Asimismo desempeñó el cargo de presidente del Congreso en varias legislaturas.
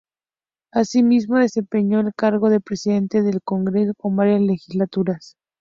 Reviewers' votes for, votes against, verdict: 4, 0, accepted